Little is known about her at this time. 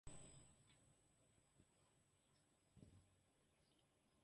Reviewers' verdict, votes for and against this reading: rejected, 0, 2